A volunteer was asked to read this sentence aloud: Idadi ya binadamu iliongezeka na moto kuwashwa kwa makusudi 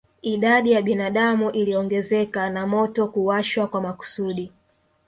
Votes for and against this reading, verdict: 2, 0, accepted